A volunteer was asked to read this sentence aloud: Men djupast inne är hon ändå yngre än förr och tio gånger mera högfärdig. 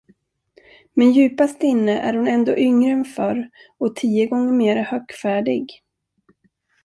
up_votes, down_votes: 2, 0